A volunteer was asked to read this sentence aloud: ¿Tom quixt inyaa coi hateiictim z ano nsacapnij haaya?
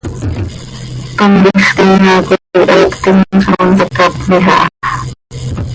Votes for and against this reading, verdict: 1, 2, rejected